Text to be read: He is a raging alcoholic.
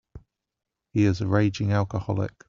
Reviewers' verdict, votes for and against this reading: accepted, 2, 0